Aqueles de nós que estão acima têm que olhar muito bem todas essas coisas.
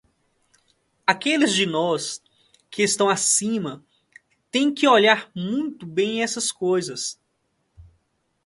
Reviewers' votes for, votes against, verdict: 1, 2, rejected